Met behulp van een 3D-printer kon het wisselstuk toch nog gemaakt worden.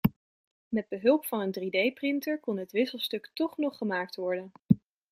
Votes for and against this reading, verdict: 0, 2, rejected